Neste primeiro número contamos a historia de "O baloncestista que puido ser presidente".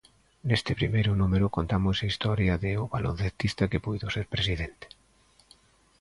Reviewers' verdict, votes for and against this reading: accepted, 3, 0